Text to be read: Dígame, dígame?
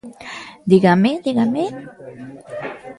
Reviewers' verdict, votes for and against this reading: accepted, 2, 0